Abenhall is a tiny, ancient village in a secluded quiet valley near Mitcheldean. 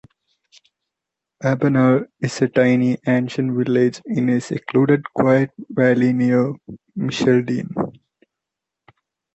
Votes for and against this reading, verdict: 0, 2, rejected